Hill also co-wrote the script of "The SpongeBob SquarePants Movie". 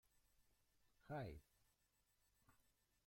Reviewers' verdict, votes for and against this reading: rejected, 0, 2